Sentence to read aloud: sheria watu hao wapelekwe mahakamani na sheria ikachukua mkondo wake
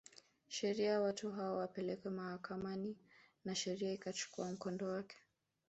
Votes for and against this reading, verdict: 0, 2, rejected